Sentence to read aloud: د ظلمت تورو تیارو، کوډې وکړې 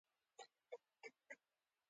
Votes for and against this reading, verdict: 1, 2, rejected